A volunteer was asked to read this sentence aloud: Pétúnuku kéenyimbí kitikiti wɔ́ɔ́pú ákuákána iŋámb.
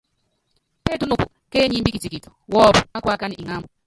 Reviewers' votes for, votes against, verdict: 0, 2, rejected